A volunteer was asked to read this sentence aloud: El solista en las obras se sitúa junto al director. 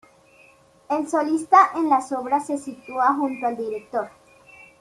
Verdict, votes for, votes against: accepted, 3, 0